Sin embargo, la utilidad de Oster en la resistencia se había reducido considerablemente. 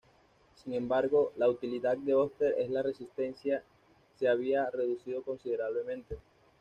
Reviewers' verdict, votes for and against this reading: rejected, 1, 2